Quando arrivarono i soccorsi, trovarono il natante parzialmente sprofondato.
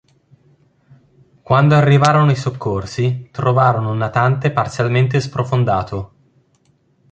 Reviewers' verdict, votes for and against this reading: rejected, 0, 2